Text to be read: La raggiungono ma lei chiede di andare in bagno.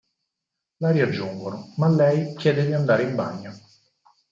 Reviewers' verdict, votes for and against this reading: rejected, 0, 4